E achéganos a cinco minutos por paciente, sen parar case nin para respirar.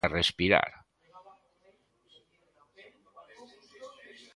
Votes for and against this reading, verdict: 0, 2, rejected